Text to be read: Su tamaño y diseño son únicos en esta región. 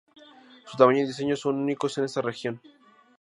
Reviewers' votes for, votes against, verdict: 2, 0, accepted